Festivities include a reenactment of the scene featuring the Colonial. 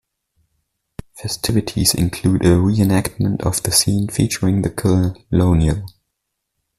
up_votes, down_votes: 1, 2